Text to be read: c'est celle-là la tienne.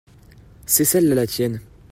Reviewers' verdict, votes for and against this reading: accepted, 2, 1